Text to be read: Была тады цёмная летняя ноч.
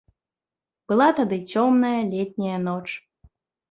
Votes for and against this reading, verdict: 2, 0, accepted